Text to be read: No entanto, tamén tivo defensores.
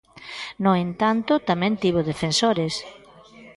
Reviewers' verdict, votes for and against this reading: accepted, 2, 1